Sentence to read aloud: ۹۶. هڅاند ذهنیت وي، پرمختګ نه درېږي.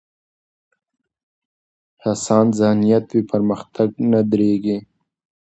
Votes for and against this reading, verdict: 0, 2, rejected